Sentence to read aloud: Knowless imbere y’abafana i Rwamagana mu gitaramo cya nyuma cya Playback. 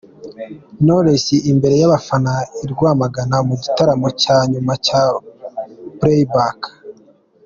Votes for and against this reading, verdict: 2, 0, accepted